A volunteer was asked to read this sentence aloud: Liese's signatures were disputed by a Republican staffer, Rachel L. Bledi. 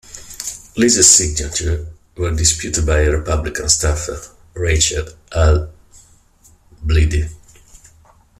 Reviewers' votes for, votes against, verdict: 1, 2, rejected